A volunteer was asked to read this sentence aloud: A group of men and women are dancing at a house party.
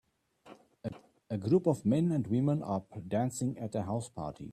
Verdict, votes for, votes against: accepted, 2, 1